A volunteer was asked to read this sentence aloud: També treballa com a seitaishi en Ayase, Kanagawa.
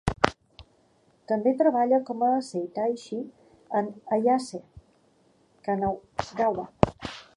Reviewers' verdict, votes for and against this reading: rejected, 0, 2